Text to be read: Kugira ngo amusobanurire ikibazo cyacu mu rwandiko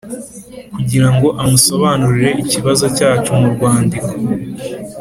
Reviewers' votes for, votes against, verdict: 2, 0, accepted